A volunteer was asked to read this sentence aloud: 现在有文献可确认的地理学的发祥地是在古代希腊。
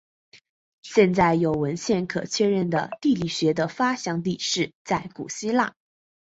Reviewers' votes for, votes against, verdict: 3, 2, accepted